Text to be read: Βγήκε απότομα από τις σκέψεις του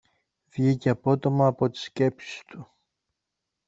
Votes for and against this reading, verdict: 1, 2, rejected